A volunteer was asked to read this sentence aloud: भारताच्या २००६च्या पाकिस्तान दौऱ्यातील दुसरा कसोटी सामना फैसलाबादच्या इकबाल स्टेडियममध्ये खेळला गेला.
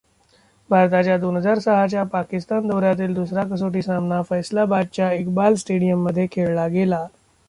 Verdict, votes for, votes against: rejected, 0, 2